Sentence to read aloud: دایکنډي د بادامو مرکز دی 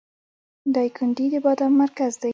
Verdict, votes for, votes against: rejected, 1, 2